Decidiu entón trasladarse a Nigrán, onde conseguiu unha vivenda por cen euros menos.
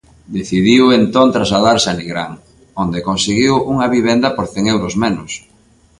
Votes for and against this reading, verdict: 2, 0, accepted